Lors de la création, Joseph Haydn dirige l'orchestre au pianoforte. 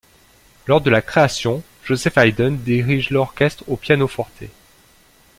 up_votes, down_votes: 2, 0